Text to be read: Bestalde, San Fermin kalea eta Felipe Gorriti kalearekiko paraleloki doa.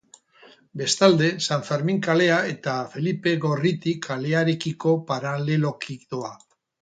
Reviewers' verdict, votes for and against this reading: accepted, 8, 0